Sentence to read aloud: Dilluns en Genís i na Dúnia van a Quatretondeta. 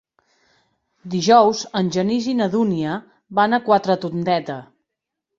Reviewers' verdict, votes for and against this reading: rejected, 0, 2